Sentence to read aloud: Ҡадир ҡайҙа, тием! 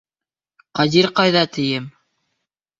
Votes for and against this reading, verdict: 2, 0, accepted